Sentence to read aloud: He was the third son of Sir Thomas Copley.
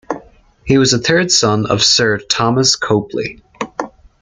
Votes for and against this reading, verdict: 2, 0, accepted